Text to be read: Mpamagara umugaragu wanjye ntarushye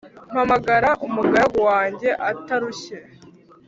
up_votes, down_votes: 1, 2